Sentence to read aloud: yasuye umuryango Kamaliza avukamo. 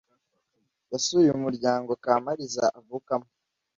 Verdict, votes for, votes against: accepted, 2, 0